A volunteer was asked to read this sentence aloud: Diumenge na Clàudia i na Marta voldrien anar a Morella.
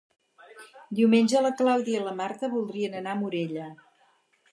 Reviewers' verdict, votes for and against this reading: rejected, 0, 4